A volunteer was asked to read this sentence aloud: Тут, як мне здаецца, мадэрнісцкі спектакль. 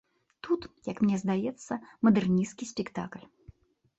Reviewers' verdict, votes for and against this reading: accepted, 2, 0